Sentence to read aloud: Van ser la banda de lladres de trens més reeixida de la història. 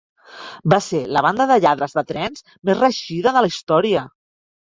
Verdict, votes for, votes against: rejected, 1, 2